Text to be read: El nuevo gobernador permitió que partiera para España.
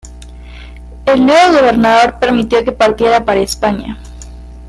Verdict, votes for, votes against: accepted, 2, 0